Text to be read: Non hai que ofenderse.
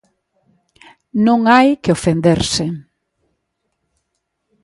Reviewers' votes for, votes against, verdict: 2, 0, accepted